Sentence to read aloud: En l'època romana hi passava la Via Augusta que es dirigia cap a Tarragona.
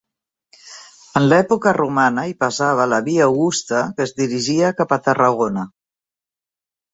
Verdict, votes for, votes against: accepted, 2, 0